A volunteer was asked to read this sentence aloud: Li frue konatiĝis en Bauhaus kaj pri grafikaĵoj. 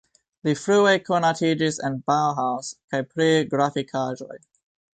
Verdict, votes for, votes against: accepted, 2, 0